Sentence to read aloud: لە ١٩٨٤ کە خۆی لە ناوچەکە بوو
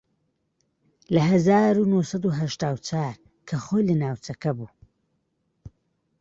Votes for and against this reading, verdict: 0, 2, rejected